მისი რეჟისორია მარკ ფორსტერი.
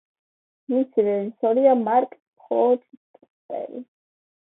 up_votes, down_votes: 2, 0